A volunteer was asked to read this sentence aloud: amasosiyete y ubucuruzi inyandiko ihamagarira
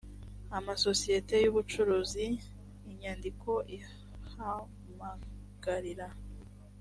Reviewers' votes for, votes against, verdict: 2, 0, accepted